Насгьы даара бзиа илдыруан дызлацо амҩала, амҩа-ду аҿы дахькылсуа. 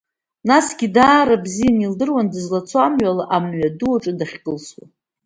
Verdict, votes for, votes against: accepted, 2, 0